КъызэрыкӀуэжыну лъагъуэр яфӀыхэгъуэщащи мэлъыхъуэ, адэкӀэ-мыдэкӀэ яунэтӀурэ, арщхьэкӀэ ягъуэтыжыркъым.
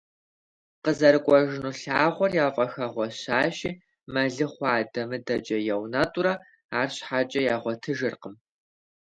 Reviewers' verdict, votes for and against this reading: rejected, 1, 2